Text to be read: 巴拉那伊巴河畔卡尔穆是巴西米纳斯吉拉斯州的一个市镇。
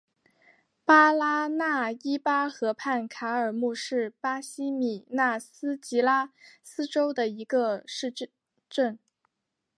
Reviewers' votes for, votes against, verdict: 2, 0, accepted